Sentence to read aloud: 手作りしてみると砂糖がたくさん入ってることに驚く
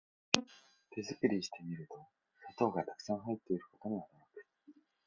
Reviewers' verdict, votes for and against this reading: rejected, 2, 3